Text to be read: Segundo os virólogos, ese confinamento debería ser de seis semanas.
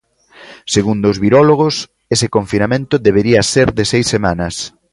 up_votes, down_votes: 2, 0